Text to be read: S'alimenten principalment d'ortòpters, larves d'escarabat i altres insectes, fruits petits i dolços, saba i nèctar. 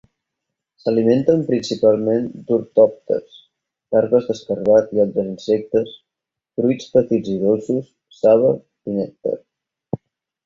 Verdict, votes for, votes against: rejected, 2, 4